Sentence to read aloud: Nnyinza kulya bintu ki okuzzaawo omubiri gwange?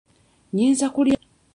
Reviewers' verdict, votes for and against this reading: rejected, 0, 2